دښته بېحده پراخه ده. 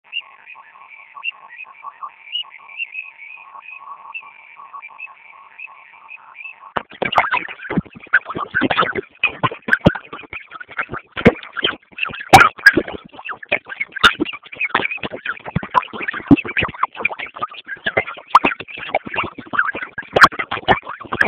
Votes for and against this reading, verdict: 0, 2, rejected